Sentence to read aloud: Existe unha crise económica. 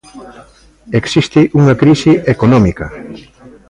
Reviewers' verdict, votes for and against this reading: accepted, 2, 0